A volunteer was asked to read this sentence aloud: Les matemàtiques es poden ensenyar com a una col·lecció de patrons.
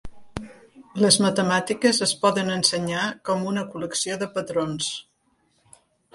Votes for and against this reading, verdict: 2, 0, accepted